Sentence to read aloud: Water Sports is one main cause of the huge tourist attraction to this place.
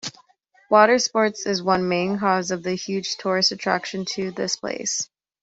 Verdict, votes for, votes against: accepted, 2, 0